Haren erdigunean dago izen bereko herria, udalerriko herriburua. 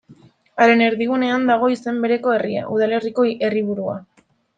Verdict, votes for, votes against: rejected, 0, 2